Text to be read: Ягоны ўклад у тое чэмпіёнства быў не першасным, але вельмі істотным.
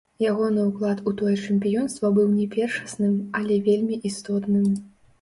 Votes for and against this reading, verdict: 0, 2, rejected